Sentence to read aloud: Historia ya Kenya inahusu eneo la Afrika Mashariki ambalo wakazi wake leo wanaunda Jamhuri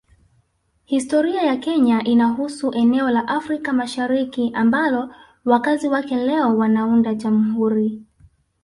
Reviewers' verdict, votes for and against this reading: accepted, 3, 0